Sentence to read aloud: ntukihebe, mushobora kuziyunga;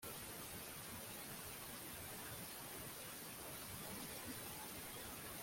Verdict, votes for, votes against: rejected, 0, 2